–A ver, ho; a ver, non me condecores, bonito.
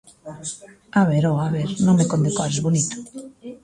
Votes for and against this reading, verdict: 0, 2, rejected